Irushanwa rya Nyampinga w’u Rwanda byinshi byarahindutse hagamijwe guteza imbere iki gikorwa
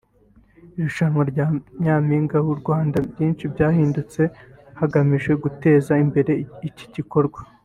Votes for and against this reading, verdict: 1, 2, rejected